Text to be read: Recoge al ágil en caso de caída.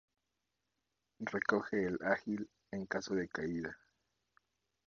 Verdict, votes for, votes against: rejected, 0, 2